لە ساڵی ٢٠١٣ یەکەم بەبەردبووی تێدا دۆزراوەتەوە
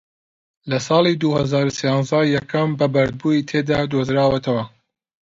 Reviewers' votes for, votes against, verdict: 0, 2, rejected